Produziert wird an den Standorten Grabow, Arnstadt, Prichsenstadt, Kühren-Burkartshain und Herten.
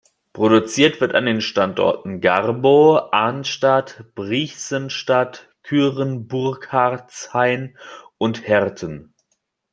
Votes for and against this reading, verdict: 1, 2, rejected